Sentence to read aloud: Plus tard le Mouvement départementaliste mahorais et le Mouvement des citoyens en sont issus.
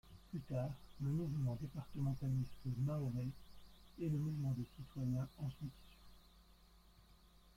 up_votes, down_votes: 0, 2